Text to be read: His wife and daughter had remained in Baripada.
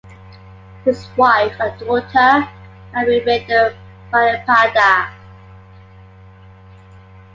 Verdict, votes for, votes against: accepted, 2, 0